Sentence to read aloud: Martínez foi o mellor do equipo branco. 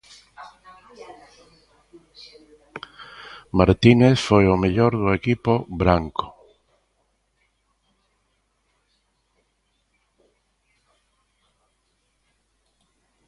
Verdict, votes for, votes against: rejected, 0, 2